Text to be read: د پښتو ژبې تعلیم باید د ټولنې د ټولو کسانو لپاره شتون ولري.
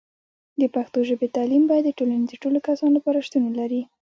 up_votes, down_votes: 2, 0